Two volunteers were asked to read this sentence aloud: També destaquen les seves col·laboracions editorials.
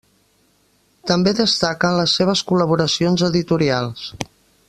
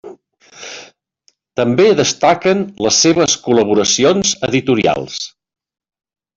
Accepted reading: second